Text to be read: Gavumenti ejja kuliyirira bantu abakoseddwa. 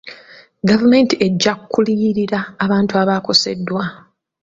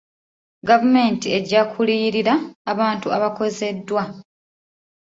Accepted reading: first